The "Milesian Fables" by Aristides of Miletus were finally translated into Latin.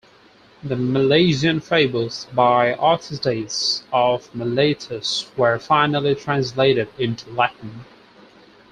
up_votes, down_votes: 4, 0